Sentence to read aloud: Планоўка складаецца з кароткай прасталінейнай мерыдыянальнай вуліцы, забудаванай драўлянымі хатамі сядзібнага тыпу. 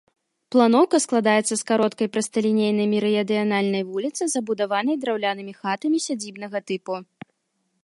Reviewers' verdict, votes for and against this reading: rejected, 1, 2